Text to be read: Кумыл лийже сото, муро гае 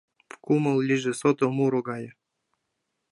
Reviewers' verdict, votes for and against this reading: accepted, 2, 0